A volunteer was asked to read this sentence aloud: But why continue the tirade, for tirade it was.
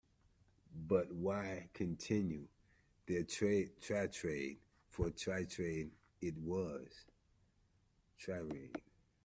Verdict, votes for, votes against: rejected, 0, 2